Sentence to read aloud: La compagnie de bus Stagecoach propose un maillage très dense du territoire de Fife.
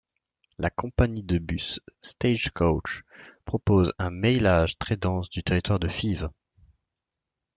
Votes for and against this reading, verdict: 1, 2, rejected